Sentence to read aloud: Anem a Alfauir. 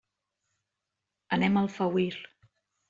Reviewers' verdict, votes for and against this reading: accepted, 2, 0